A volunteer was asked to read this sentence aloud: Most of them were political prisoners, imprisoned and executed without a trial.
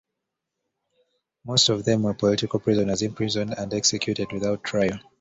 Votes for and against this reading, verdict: 1, 2, rejected